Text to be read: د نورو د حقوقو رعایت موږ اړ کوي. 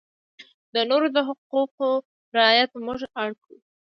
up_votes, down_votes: 2, 0